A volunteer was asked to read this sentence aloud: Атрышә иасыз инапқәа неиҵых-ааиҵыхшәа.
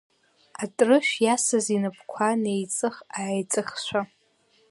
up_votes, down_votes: 2, 0